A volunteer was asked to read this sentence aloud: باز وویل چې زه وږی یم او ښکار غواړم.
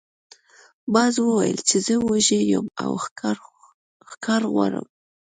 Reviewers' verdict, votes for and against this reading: accepted, 2, 0